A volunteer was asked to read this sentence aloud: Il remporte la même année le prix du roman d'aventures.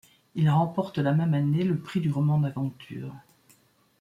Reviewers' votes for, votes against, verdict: 2, 0, accepted